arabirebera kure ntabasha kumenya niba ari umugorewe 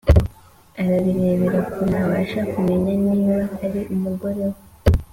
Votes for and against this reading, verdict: 2, 0, accepted